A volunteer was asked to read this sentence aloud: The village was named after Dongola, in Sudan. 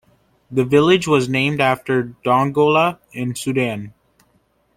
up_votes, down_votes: 2, 0